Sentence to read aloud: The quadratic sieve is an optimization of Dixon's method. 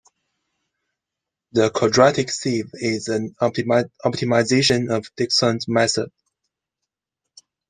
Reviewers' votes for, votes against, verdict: 0, 2, rejected